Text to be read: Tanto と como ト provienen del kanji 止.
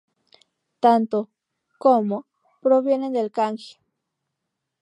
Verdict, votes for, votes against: accepted, 2, 0